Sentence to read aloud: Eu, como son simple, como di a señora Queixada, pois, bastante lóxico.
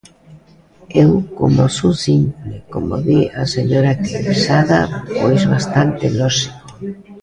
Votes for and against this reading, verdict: 2, 0, accepted